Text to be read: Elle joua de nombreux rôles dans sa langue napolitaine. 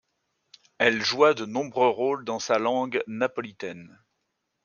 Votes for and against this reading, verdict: 2, 0, accepted